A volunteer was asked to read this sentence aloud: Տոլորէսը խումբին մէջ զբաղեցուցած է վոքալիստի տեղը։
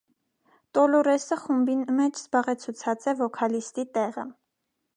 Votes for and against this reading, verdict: 2, 0, accepted